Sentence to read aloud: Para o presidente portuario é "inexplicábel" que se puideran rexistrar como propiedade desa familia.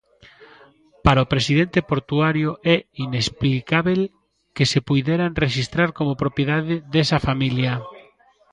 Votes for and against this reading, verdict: 1, 2, rejected